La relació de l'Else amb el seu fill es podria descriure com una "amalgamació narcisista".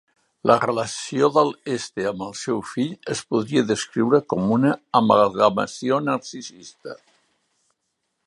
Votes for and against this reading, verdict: 4, 3, accepted